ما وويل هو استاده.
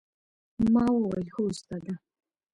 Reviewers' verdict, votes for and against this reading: accepted, 2, 0